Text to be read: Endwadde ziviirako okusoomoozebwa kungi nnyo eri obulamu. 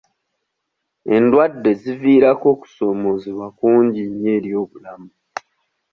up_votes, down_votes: 1, 2